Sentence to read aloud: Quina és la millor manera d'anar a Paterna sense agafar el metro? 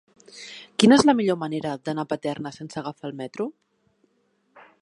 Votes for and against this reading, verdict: 1, 3, rejected